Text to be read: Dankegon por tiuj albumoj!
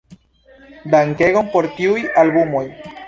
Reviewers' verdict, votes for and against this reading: accepted, 2, 0